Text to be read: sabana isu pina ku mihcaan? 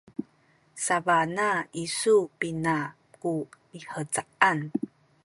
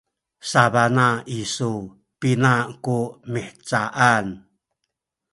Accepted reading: first